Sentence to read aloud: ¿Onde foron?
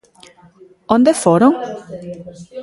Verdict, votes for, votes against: rejected, 1, 2